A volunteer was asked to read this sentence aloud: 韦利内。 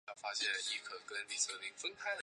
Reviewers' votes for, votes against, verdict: 1, 2, rejected